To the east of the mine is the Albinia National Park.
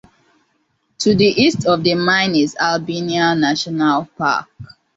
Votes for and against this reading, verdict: 2, 0, accepted